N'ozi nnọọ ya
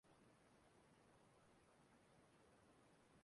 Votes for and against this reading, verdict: 1, 2, rejected